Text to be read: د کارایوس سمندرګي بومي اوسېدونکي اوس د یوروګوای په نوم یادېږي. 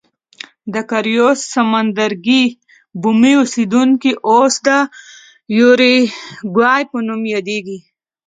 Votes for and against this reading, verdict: 3, 0, accepted